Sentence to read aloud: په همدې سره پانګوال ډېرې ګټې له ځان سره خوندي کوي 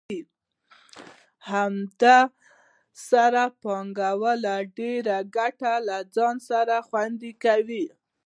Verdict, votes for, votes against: rejected, 1, 2